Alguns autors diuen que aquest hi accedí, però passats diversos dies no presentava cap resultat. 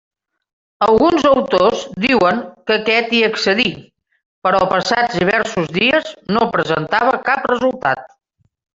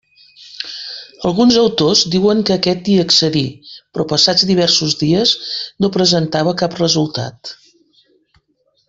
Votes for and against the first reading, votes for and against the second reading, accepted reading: 1, 2, 2, 0, second